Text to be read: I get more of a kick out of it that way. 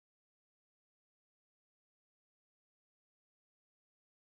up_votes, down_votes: 0, 3